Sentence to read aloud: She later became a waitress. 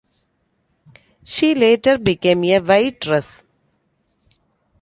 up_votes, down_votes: 0, 2